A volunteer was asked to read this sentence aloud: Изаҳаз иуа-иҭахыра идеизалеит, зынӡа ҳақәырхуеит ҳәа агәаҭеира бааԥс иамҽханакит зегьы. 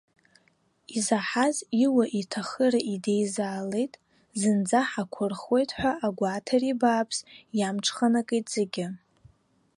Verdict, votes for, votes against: accepted, 2, 1